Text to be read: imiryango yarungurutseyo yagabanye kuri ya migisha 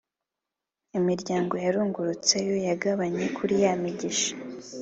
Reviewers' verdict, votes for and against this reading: accepted, 3, 0